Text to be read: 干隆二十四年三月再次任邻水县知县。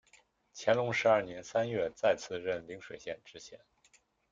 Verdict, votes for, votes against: rejected, 0, 2